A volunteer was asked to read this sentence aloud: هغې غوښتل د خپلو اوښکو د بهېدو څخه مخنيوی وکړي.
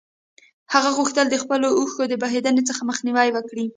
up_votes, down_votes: 1, 2